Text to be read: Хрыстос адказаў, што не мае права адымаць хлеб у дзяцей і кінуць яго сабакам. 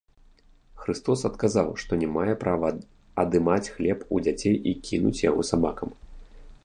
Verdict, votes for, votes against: rejected, 1, 2